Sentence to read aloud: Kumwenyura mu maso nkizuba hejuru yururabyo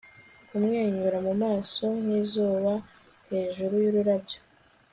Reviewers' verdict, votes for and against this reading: accepted, 2, 0